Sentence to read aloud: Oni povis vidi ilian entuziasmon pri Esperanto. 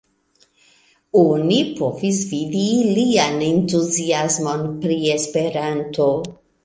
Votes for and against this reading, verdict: 1, 2, rejected